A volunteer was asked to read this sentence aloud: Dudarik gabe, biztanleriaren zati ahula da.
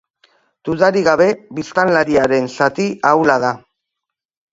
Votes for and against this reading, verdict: 0, 2, rejected